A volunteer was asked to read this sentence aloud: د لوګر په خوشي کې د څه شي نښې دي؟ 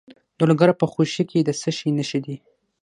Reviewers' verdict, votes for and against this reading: accepted, 6, 0